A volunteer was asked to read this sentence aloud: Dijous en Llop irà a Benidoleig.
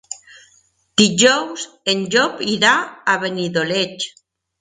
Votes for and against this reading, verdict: 2, 0, accepted